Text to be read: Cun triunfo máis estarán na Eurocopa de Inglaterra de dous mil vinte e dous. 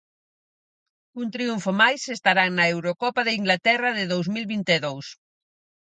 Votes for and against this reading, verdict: 4, 0, accepted